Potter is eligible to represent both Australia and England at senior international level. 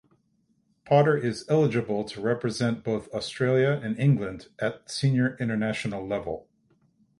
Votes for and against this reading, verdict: 6, 0, accepted